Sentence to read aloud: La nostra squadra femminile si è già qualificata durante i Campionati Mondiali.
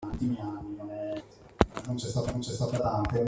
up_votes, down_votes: 0, 2